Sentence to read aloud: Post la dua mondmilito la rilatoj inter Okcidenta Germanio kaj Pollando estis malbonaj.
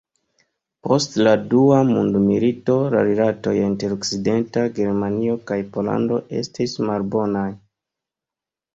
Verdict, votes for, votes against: accepted, 3, 0